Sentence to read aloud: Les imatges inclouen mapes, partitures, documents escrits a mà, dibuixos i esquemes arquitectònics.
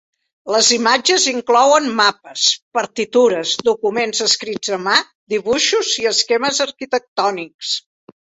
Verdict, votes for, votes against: accepted, 3, 0